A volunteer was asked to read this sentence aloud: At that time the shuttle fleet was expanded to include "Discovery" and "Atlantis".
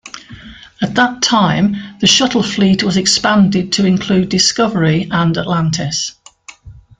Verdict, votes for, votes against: accepted, 2, 0